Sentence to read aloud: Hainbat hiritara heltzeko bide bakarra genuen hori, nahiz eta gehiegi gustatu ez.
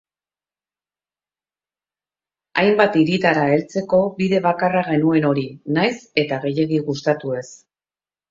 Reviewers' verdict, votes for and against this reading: accepted, 4, 0